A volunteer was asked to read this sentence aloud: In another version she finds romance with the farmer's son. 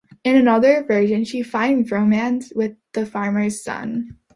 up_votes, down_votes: 2, 0